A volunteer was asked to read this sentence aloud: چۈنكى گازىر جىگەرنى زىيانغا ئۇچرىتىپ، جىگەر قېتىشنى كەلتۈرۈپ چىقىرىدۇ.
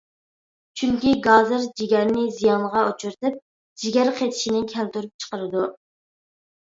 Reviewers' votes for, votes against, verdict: 2, 0, accepted